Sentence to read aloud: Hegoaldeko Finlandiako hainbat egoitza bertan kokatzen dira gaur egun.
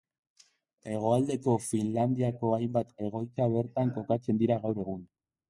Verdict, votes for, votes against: accepted, 2, 1